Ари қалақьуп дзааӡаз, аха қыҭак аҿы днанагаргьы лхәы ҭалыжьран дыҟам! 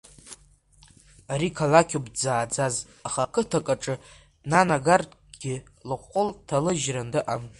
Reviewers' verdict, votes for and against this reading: rejected, 1, 2